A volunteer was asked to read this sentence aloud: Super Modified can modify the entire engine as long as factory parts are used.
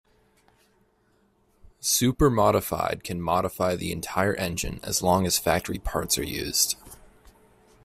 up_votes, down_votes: 2, 0